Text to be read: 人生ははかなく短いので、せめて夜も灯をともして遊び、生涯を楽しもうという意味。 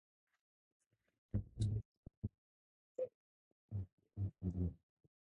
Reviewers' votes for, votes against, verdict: 0, 2, rejected